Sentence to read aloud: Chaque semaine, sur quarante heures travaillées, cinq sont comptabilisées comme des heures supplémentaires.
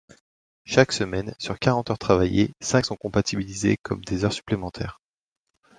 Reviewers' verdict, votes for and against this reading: rejected, 1, 2